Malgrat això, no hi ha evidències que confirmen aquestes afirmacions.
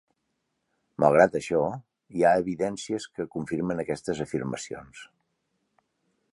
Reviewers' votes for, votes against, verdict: 0, 2, rejected